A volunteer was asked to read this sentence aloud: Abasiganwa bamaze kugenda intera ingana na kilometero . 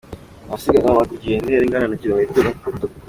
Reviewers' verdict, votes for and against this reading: accepted, 2, 1